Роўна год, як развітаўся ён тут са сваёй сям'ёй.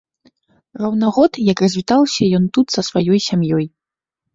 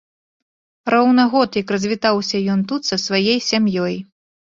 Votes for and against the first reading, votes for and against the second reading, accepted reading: 2, 0, 1, 2, first